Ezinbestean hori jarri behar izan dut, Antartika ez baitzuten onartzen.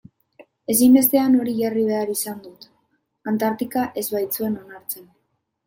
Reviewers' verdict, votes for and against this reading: accepted, 2, 0